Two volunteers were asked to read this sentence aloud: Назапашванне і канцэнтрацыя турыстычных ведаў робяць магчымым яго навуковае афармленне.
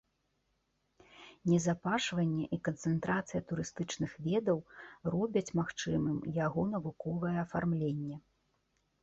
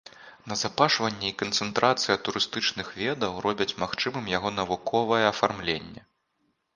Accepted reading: second